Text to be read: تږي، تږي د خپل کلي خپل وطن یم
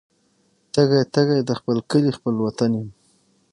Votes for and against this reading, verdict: 6, 3, accepted